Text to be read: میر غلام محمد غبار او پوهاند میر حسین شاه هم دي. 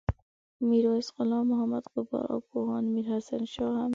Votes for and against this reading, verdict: 0, 2, rejected